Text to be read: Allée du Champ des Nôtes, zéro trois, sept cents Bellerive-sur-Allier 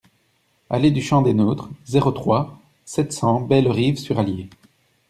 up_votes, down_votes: 0, 2